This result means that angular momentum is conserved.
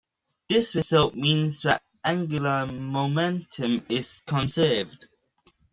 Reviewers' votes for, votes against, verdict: 1, 2, rejected